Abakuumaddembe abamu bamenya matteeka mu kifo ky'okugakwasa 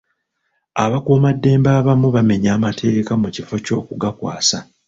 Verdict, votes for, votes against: rejected, 0, 2